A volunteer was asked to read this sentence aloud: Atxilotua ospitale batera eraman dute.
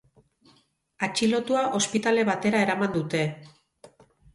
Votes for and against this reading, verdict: 2, 2, rejected